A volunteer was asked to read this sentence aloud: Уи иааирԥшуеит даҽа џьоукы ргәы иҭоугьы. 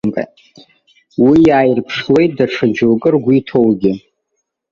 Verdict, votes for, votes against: rejected, 1, 2